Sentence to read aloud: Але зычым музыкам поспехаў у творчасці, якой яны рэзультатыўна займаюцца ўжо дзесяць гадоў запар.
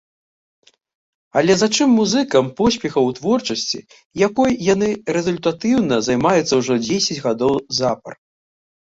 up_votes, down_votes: 0, 2